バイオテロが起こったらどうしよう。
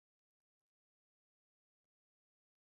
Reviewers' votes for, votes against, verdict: 0, 2, rejected